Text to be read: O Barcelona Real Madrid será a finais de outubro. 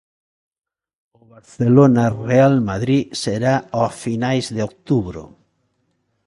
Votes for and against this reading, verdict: 0, 2, rejected